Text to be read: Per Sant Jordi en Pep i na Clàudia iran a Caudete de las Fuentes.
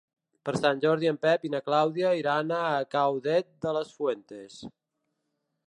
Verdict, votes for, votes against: rejected, 1, 2